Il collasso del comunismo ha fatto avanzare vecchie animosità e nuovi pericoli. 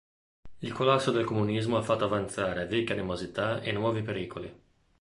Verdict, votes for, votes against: rejected, 1, 2